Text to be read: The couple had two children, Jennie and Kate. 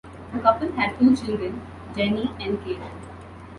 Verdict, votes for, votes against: accepted, 2, 0